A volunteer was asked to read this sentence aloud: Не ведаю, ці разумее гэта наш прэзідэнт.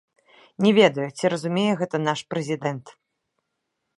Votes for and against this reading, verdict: 0, 2, rejected